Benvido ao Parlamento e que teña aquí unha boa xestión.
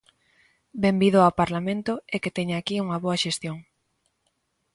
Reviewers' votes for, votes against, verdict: 2, 0, accepted